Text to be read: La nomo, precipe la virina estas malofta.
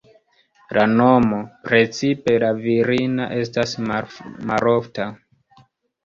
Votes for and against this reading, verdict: 0, 2, rejected